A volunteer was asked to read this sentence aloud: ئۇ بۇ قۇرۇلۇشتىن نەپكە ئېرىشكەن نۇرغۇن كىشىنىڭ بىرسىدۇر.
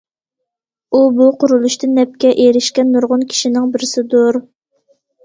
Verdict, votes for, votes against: accepted, 2, 0